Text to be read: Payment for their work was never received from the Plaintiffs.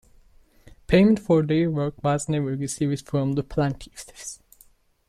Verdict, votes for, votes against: rejected, 0, 2